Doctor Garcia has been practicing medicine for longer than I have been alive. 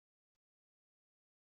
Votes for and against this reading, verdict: 0, 2, rejected